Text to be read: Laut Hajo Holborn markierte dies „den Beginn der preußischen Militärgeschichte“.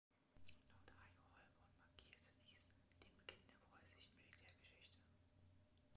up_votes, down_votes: 1, 2